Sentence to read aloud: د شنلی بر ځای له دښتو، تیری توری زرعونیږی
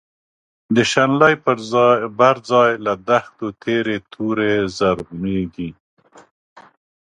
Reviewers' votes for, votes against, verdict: 0, 2, rejected